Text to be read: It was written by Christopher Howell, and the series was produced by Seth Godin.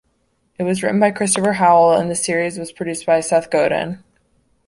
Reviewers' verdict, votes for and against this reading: accepted, 2, 1